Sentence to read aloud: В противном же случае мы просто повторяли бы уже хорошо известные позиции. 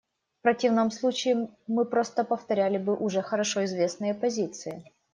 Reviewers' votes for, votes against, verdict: 0, 2, rejected